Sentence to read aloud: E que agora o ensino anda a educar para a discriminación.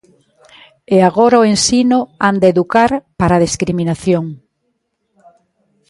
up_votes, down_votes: 2, 1